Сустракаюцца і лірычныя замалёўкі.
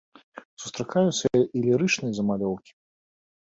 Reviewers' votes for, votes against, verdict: 2, 0, accepted